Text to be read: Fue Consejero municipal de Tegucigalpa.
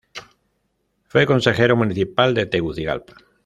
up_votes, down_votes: 2, 0